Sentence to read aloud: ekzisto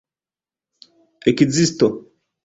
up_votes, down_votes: 2, 0